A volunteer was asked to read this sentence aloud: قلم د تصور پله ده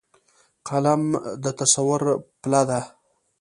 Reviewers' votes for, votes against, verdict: 2, 0, accepted